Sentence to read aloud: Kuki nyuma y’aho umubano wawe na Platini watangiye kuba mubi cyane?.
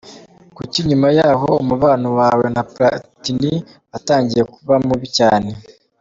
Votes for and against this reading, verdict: 3, 0, accepted